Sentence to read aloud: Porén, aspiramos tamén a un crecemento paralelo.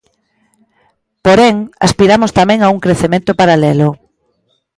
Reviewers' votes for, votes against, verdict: 2, 0, accepted